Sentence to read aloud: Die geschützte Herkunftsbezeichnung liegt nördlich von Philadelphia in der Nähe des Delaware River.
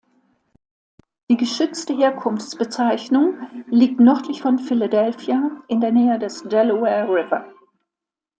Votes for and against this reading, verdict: 2, 0, accepted